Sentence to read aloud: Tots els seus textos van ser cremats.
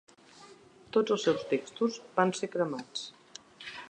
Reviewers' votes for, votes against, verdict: 2, 0, accepted